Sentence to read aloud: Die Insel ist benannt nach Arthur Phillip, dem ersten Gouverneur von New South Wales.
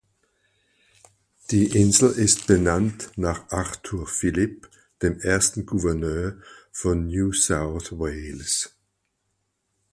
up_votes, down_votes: 4, 2